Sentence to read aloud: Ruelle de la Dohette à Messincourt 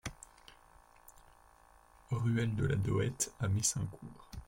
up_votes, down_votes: 1, 2